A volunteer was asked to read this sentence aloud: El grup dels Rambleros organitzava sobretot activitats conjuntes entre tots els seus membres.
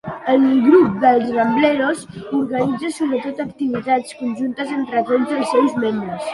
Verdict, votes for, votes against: rejected, 0, 2